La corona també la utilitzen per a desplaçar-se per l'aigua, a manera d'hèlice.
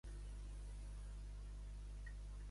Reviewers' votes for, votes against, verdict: 0, 2, rejected